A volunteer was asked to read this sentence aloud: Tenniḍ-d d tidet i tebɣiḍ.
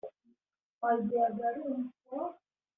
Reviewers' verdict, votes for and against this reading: rejected, 0, 2